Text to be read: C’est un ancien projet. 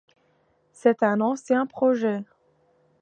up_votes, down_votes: 2, 0